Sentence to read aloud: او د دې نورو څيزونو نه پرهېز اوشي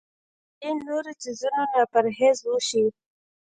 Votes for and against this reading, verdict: 0, 2, rejected